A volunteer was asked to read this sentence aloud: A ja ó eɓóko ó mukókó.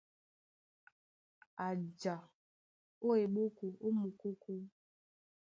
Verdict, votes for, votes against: accepted, 2, 0